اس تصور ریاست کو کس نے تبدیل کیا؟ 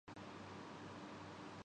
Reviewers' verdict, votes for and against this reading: rejected, 0, 2